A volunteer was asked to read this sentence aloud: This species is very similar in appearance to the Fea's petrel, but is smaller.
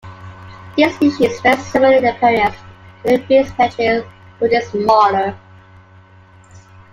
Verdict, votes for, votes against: rejected, 0, 2